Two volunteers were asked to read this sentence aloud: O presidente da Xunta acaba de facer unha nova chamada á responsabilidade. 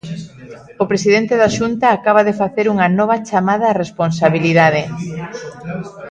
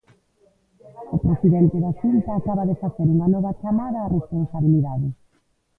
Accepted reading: first